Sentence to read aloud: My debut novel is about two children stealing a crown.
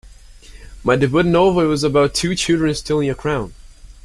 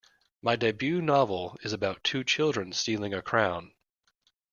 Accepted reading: second